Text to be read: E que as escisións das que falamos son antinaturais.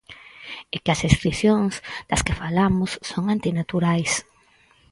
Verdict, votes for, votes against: accepted, 4, 0